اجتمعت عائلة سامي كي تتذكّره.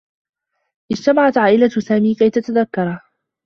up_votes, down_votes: 2, 0